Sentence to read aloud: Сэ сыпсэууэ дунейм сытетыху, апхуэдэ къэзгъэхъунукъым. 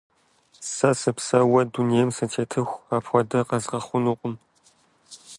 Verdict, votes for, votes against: accepted, 2, 0